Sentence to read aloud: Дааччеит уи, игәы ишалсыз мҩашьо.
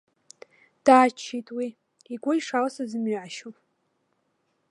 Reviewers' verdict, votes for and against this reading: rejected, 1, 3